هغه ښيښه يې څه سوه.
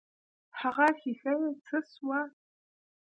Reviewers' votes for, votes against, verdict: 2, 0, accepted